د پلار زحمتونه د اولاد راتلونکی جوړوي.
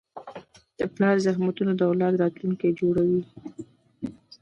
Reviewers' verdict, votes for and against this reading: rejected, 0, 2